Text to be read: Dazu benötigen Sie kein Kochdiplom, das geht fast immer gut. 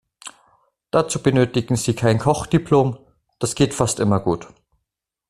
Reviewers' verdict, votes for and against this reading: accepted, 2, 0